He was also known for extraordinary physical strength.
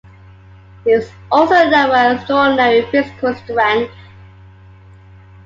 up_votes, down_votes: 2, 1